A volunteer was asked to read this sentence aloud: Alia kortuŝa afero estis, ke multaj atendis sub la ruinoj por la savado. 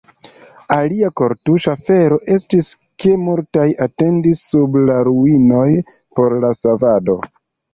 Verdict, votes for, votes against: rejected, 1, 2